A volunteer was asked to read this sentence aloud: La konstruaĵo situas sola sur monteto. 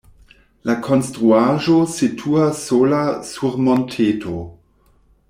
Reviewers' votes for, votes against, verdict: 2, 0, accepted